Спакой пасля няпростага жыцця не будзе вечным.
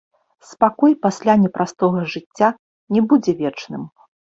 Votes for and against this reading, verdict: 1, 2, rejected